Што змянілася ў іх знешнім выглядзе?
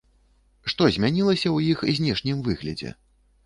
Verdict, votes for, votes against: accepted, 2, 0